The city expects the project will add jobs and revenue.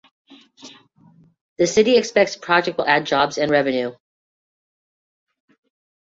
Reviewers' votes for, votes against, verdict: 0, 2, rejected